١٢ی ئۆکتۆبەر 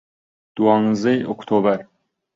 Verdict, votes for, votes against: rejected, 0, 2